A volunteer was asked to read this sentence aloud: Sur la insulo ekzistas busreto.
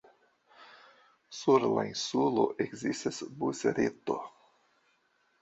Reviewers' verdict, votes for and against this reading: accepted, 2, 1